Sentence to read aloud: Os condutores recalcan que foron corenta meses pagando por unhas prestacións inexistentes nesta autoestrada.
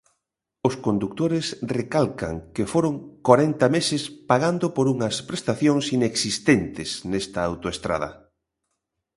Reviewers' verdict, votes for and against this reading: rejected, 0, 2